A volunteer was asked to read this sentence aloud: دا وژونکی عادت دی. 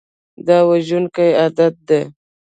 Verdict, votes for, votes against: rejected, 1, 2